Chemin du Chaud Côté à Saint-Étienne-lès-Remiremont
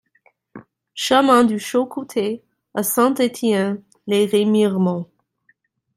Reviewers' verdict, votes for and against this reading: rejected, 0, 2